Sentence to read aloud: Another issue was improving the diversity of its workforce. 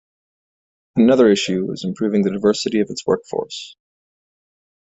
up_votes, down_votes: 2, 0